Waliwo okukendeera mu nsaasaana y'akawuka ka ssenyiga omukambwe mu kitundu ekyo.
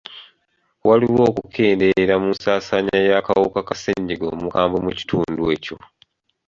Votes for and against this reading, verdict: 2, 0, accepted